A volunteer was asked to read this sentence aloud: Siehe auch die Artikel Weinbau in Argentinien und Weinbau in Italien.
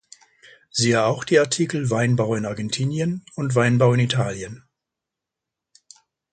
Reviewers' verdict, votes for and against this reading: accepted, 2, 0